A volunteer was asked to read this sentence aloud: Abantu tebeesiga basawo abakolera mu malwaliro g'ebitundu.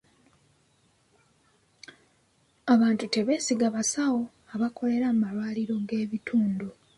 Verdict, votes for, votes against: accepted, 3, 0